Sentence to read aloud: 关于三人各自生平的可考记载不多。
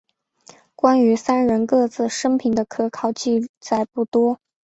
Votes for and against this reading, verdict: 4, 0, accepted